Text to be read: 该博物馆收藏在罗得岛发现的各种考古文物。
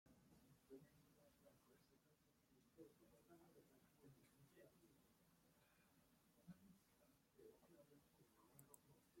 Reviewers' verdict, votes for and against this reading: rejected, 0, 2